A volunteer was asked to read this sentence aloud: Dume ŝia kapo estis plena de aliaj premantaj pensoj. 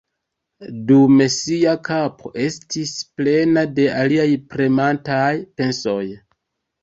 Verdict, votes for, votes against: rejected, 1, 2